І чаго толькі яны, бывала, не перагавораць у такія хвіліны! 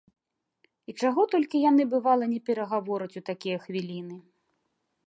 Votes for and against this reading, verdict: 2, 0, accepted